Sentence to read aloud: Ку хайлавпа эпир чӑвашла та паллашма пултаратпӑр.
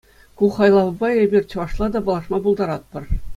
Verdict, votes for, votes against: accepted, 2, 0